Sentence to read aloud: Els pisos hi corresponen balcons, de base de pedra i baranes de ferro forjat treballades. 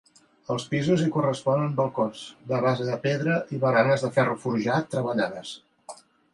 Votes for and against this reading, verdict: 2, 0, accepted